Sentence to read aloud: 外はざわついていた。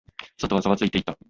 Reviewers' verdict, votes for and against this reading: accepted, 2, 1